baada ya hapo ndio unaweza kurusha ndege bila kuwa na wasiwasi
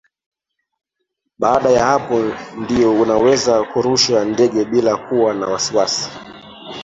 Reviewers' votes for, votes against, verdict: 0, 2, rejected